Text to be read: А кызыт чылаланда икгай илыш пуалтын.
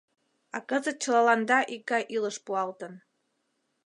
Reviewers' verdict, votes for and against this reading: accepted, 2, 0